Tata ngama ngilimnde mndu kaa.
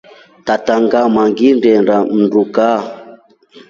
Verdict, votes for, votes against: rejected, 1, 2